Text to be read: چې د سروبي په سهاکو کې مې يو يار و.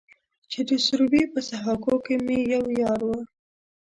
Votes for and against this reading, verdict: 1, 2, rejected